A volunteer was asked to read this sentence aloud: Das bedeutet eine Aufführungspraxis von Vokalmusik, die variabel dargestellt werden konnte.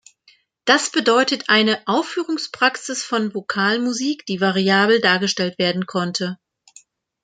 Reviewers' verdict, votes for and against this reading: accepted, 2, 0